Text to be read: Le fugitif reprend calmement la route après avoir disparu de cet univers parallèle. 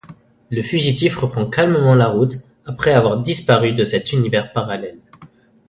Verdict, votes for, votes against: accepted, 2, 0